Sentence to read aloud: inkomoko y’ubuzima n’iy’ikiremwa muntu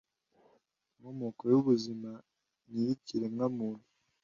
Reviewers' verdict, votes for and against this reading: accepted, 2, 0